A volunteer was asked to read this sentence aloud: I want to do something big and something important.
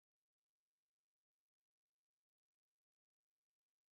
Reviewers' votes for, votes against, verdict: 0, 3, rejected